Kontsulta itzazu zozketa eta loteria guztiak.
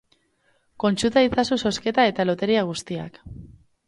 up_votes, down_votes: 2, 0